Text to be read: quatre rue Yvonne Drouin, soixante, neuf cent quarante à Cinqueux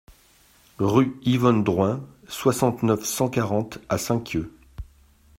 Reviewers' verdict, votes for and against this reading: rejected, 0, 2